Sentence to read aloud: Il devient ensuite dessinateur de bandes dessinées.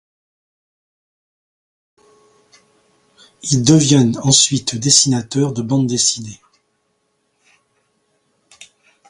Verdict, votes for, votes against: accepted, 2, 0